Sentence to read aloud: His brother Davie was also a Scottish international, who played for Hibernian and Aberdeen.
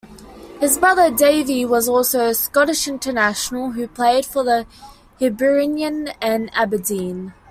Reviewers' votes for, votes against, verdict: 0, 2, rejected